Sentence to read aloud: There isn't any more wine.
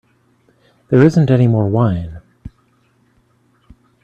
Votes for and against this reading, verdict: 2, 1, accepted